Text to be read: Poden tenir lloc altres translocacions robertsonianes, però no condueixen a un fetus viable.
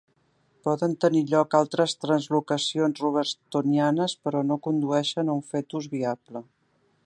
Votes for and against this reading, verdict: 0, 2, rejected